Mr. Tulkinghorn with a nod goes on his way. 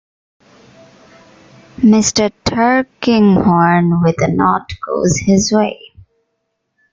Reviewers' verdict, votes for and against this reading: rejected, 0, 2